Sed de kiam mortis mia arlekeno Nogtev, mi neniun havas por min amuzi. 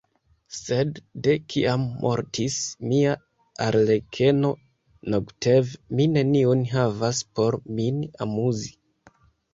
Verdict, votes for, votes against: accepted, 2, 1